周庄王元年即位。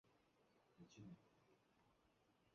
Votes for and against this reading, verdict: 1, 3, rejected